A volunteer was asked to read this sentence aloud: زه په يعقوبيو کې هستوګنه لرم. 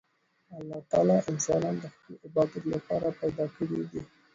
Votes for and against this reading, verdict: 0, 2, rejected